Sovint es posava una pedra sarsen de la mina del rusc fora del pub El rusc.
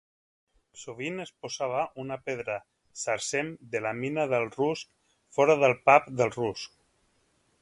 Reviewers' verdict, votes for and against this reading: rejected, 0, 3